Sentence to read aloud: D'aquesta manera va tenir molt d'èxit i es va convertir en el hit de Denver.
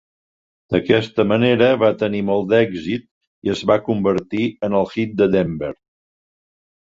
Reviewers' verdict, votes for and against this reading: accepted, 2, 0